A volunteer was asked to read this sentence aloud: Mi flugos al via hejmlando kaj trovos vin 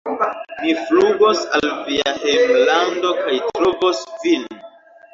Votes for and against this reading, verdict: 2, 0, accepted